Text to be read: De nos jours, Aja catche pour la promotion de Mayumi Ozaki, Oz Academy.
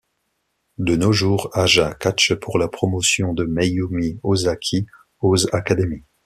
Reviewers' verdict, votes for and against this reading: accepted, 2, 0